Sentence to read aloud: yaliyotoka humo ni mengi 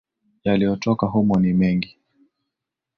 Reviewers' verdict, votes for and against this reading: accepted, 11, 2